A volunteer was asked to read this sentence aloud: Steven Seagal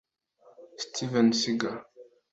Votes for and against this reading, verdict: 2, 1, accepted